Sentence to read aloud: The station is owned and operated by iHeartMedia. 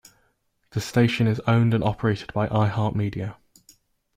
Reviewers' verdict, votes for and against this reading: accepted, 2, 0